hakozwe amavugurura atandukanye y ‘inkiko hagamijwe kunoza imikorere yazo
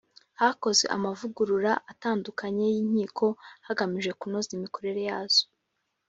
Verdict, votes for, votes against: rejected, 1, 2